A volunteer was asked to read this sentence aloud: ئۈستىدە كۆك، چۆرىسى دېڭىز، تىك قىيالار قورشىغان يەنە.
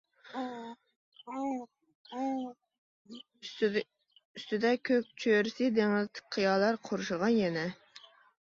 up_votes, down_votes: 0, 2